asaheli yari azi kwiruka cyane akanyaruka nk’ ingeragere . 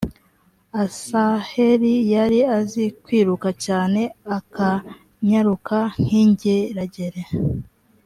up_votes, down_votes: 2, 0